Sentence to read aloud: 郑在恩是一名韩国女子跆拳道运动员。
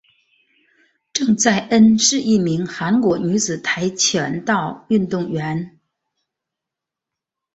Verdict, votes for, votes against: accepted, 2, 0